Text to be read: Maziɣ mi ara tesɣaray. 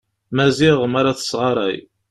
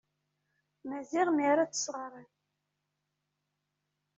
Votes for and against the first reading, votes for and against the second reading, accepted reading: 2, 0, 1, 2, first